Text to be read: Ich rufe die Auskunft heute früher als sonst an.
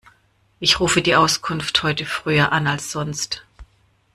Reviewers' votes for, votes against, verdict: 0, 2, rejected